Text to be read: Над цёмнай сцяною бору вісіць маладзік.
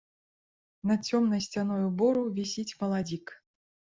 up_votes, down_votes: 2, 0